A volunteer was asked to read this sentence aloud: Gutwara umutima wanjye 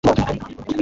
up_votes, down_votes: 1, 2